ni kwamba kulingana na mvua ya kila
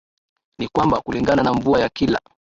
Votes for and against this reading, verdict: 0, 2, rejected